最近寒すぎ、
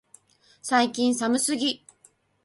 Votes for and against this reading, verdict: 4, 0, accepted